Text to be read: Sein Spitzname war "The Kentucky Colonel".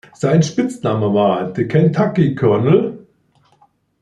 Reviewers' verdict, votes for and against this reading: rejected, 0, 2